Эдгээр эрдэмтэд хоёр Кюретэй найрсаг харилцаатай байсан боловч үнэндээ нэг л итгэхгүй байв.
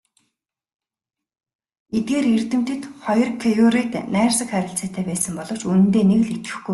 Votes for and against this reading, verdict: 0, 2, rejected